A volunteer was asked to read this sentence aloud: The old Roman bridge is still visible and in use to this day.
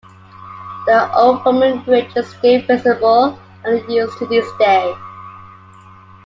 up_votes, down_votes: 1, 2